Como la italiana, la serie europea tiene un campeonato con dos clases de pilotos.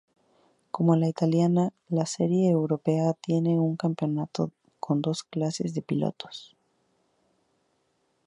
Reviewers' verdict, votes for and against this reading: accepted, 2, 0